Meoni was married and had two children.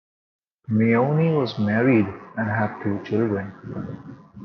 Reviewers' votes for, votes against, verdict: 2, 1, accepted